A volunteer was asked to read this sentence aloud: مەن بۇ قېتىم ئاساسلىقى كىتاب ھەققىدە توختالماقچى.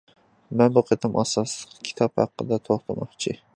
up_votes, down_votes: 2, 1